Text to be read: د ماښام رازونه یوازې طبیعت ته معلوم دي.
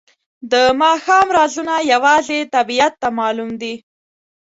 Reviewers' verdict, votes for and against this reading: accepted, 2, 0